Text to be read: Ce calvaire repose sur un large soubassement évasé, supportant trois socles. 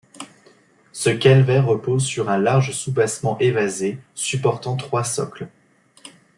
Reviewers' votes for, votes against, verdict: 2, 0, accepted